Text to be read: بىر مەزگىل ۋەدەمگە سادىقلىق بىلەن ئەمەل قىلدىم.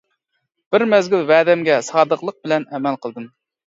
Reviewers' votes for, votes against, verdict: 2, 0, accepted